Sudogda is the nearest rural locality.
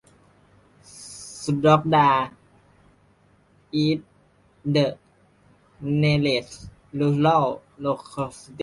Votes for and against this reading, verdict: 0, 2, rejected